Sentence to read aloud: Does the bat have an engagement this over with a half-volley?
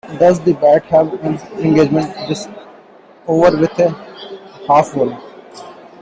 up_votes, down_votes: 1, 2